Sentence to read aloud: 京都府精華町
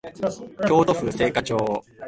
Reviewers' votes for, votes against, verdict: 1, 3, rejected